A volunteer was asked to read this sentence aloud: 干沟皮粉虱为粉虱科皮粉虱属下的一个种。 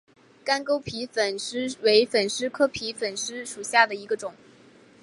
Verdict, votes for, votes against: accepted, 4, 0